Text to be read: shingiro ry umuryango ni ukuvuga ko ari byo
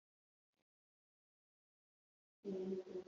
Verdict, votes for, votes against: rejected, 2, 4